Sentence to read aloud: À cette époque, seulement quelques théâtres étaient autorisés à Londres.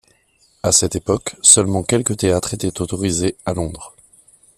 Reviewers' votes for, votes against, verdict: 2, 0, accepted